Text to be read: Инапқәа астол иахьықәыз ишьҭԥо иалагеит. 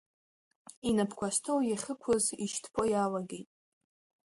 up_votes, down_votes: 2, 0